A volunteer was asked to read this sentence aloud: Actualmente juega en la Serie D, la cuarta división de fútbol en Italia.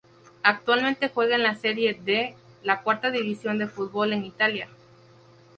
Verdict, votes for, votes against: rejected, 0, 2